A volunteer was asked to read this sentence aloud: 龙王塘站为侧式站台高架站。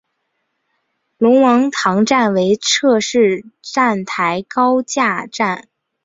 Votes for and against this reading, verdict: 3, 0, accepted